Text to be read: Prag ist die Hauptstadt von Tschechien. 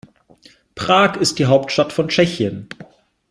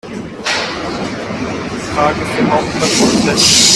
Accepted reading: first